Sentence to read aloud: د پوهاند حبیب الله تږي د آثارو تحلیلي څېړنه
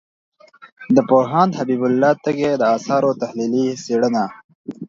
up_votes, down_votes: 2, 0